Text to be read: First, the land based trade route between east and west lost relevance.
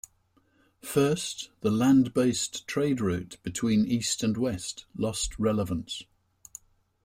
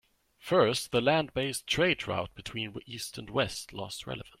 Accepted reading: second